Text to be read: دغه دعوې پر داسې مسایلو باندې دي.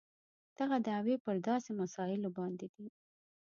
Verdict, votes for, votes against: rejected, 1, 2